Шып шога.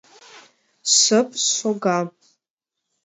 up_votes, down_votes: 2, 0